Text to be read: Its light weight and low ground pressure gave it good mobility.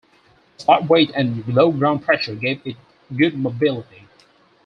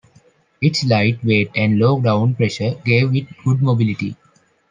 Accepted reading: second